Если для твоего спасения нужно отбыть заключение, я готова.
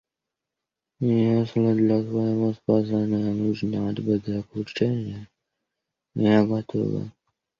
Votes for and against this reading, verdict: 0, 2, rejected